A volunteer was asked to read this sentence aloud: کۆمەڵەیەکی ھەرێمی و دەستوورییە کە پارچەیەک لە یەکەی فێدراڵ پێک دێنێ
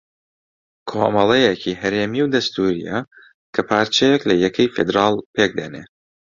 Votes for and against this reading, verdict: 2, 0, accepted